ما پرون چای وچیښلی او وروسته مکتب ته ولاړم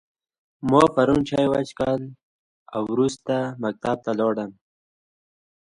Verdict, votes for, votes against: accepted, 2, 0